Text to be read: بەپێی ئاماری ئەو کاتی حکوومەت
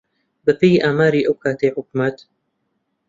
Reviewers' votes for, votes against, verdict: 1, 2, rejected